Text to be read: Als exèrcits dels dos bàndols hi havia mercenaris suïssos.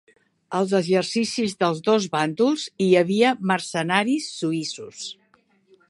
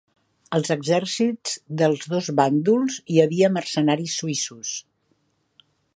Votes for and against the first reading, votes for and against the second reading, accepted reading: 1, 2, 3, 0, second